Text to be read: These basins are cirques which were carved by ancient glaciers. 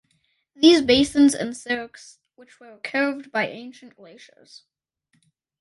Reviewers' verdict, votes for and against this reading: rejected, 0, 2